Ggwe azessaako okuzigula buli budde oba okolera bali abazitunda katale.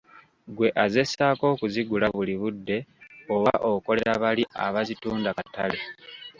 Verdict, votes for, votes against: accepted, 2, 1